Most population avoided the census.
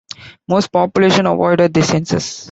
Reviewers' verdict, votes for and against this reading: accepted, 2, 0